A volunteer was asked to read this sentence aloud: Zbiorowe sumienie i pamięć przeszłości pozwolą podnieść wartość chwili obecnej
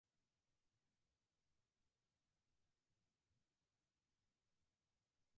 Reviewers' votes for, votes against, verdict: 0, 4, rejected